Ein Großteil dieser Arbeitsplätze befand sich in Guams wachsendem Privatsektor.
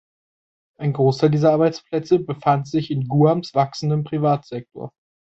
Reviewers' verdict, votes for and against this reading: accepted, 3, 0